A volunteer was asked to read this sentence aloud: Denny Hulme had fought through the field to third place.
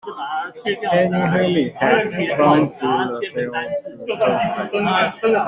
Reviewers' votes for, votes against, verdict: 0, 2, rejected